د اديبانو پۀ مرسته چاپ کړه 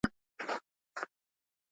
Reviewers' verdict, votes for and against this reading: rejected, 0, 2